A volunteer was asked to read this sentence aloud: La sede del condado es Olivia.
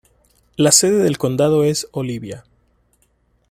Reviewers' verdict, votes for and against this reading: accepted, 2, 0